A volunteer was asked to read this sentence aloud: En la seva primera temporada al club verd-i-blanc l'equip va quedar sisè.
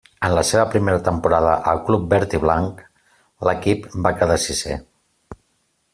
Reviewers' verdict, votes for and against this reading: accepted, 2, 0